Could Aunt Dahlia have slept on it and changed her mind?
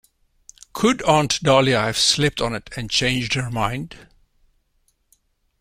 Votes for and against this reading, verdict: 2, 0, accepted